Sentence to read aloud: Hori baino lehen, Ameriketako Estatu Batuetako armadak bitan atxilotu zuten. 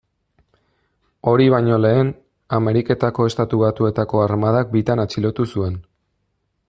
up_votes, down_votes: 0, 2